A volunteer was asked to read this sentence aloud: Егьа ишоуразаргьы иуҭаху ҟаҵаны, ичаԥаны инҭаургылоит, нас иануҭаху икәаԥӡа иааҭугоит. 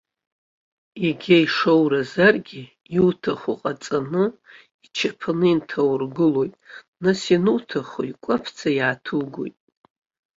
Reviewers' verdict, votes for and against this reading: accepted, 2, 1